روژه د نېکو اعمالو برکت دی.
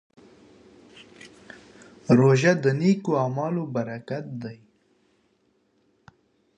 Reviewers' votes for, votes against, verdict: 2, 0, accepted